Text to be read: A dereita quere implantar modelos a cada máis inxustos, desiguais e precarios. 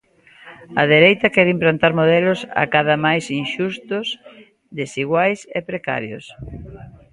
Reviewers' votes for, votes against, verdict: 1, 2, rejected